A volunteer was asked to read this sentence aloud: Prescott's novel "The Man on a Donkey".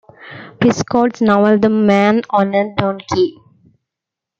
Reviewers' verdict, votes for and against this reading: accepted, 2, 1